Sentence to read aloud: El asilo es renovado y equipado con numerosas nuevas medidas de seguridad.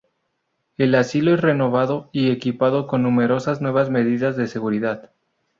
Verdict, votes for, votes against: rejected, 0, 2